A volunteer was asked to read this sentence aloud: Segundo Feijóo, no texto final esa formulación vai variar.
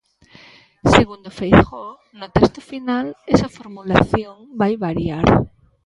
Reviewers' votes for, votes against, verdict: 1, 2, rejected